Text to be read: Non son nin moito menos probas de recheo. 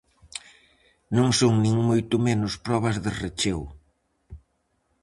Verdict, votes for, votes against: accepted, 4, 0